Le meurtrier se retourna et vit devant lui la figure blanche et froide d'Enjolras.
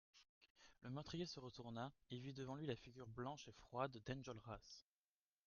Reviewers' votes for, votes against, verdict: 0, 2, rejected